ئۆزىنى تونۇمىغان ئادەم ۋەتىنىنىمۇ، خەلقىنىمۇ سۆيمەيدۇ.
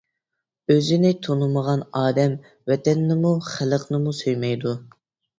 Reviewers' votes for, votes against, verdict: 1, 2, rejected